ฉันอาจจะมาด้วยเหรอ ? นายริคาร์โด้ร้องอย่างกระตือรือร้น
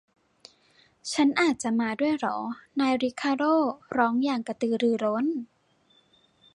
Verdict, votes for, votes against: accepted, 2, 0